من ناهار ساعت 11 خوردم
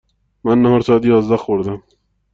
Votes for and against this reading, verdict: 0, 2, rejected